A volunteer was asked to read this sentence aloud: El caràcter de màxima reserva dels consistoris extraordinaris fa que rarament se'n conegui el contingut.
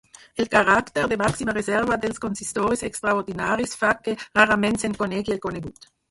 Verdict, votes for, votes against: rejected, 0, 4